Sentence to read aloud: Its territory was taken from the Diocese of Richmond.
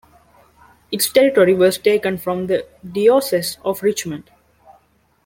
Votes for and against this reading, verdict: 1, 2, rejected